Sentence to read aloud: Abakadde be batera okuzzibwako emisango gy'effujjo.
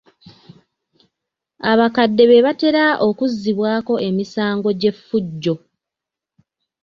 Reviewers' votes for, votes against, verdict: 2, 0, accepted